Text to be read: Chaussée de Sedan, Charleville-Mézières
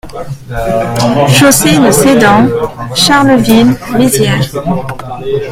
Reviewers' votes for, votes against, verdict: 1, 2, rejected